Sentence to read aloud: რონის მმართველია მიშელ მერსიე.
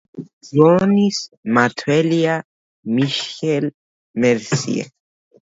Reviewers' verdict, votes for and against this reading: accepted, 2, 1